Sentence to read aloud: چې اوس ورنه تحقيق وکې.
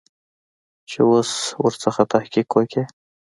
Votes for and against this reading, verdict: 1, 2, rejected